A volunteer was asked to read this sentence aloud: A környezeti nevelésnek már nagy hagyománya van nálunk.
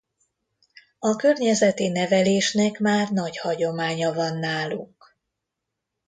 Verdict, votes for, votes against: rejected, 0, 2